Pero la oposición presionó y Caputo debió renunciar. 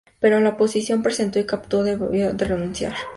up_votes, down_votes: 0, 2